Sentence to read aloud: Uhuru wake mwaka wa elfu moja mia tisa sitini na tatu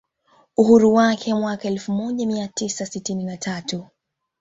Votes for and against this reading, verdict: 0, 2, rejected